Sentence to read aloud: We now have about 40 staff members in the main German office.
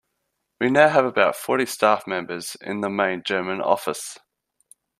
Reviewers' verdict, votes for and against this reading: rejected, 0, 2